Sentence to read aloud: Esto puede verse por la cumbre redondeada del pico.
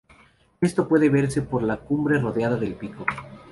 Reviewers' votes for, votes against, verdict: 2, 2, rejected